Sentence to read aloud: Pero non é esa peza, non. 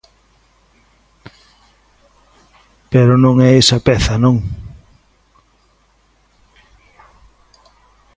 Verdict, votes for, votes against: accepted, 2, 0